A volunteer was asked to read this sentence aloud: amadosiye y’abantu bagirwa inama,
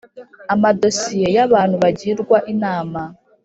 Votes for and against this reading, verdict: 3, 0, accepted